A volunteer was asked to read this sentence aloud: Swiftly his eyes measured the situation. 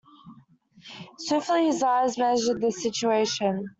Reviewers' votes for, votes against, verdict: 2, 0, accepted